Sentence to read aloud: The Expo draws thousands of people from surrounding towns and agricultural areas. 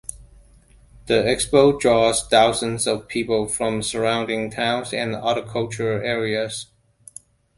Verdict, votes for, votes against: accepted, 2, 1